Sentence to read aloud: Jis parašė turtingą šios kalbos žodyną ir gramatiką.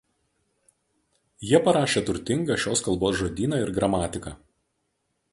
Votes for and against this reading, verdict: 0, 2, rejected